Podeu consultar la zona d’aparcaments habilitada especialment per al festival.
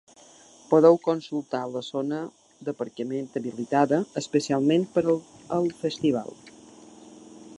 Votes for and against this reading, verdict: 1, 2, rejected